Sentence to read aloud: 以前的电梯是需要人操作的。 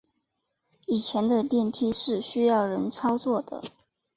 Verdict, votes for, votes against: accepted, 2, 0